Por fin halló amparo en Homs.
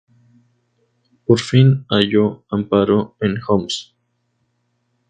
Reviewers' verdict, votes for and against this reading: accepted, 2, 0